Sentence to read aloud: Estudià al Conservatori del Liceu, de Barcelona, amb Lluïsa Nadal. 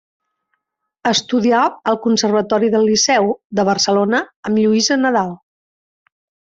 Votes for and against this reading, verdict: 2, 0, accepted